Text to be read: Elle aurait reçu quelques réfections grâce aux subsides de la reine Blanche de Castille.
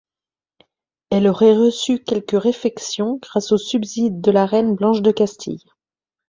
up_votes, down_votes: 1, 2